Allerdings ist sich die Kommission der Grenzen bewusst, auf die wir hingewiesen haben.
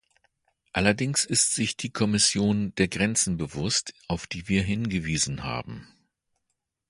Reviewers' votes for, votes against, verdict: 2, 0, accepted